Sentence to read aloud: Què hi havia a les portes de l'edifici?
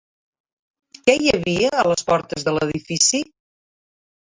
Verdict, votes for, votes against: accepted, 2, 1